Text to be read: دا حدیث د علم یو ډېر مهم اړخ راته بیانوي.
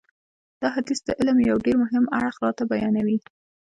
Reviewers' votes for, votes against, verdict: 2, 1, accepted